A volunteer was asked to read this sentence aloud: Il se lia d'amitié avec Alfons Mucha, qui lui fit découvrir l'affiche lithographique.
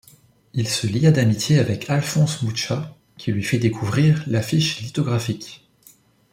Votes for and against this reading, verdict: 1, 2, rejected